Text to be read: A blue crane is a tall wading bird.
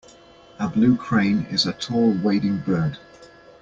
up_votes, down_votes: 2, 0